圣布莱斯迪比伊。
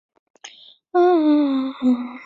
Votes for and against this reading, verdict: 0, 2, rejected